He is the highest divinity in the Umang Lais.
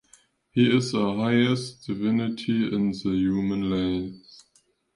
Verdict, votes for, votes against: rejected, 1, 2